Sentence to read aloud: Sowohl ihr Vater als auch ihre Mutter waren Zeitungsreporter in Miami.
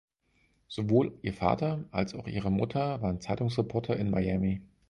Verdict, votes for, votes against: accepted, 4, 0